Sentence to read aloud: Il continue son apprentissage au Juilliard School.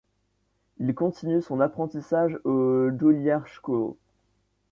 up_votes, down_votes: 1, 2